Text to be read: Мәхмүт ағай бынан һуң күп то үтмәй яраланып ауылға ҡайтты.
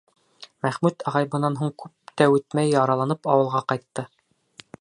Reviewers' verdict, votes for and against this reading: rejected, 0, 2